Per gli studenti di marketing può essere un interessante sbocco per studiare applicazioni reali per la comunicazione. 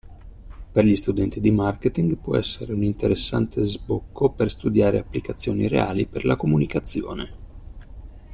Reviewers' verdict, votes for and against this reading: accepted, 2, 0